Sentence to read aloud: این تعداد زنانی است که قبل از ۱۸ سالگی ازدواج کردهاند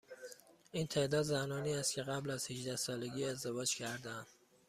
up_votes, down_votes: 0, 2